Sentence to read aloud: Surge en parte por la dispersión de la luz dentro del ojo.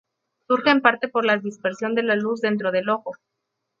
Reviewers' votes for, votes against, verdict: 2, 2, rejected